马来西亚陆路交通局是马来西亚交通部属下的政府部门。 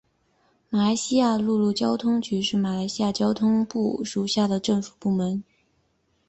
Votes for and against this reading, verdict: 0, 2, rejected